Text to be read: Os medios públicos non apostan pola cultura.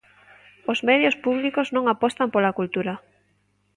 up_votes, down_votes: 2, 0